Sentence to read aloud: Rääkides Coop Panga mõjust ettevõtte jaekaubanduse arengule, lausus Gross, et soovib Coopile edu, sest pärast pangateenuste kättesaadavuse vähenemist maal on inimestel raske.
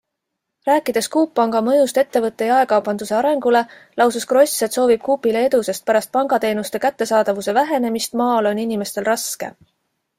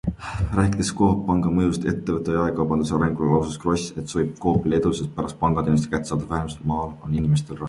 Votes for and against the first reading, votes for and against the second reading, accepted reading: 2, 0, 0, 2, first